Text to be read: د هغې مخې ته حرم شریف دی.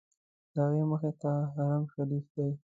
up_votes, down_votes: 1, 2